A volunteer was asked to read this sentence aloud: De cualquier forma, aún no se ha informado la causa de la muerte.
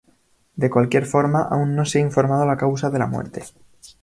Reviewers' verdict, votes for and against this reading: accepted, 2, 0